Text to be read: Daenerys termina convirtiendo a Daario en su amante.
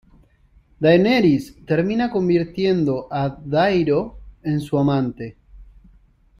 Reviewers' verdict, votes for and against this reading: rejected, 0, 2